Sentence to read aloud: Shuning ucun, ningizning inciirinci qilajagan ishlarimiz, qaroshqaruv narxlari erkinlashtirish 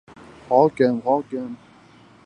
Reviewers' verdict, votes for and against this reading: rejected, 0, 2